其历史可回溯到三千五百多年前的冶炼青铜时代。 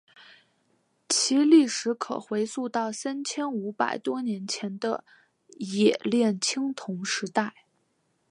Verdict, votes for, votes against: accepted, 2, 0